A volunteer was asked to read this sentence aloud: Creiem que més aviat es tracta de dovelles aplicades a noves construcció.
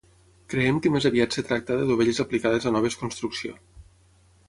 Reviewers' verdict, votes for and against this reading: accepted, 6, 0